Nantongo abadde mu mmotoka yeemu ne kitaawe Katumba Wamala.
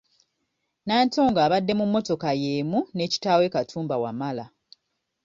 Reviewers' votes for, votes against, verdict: 2, 0, accepted